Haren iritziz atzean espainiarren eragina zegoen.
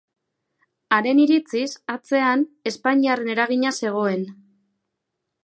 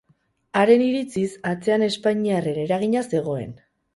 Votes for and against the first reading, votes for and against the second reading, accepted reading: 2, 0, 0, 2, first